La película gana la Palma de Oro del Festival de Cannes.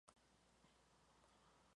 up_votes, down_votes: 0, 2